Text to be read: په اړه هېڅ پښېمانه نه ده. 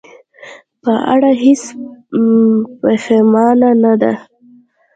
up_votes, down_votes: 0, 2